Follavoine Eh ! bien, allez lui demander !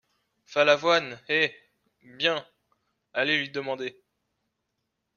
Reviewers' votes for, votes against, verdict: 1, 2, rejected